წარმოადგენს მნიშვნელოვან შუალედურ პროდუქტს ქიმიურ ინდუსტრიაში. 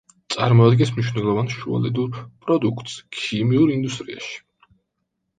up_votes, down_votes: 2, 0